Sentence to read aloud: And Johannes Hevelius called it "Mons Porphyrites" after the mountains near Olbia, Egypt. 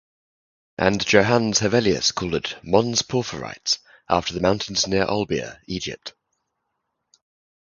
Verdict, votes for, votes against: accepted, 4, 0